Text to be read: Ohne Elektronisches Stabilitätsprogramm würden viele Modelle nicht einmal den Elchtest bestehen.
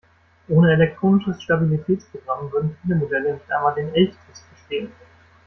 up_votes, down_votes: 1, 2